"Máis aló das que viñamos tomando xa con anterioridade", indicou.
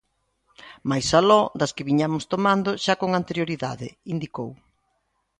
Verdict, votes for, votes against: accepted, 2, 0